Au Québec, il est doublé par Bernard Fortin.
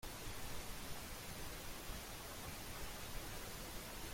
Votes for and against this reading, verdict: 0, 2, rejected